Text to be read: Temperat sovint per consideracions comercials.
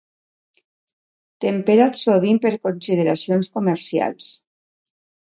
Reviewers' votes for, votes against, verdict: 2, 0, accepted